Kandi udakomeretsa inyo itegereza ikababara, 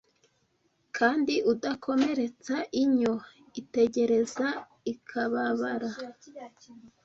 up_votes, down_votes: 0, 2